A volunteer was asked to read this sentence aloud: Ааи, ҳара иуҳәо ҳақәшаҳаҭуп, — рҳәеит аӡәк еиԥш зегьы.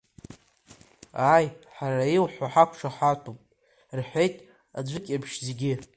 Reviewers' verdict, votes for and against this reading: accepted, 2, 0